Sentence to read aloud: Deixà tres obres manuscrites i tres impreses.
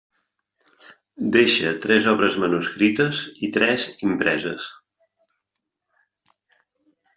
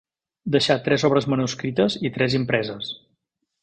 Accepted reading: second